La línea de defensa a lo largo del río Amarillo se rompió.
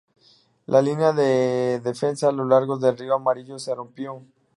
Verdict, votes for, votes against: accepted, 2, 0